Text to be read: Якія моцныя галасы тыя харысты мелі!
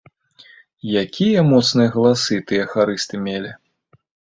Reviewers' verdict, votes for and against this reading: accepted, 2, 0